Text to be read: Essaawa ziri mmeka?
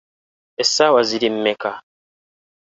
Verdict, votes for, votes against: accepted, 3, 0